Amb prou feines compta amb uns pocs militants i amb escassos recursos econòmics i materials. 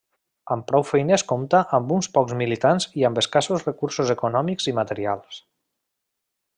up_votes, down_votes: 3, 0